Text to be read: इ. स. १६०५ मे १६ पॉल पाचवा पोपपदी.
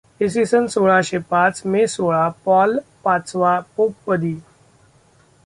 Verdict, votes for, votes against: rejected, 0, 2